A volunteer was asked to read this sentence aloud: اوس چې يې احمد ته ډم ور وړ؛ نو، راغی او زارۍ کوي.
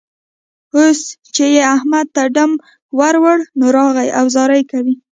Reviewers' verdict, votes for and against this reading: rejected, 1, 2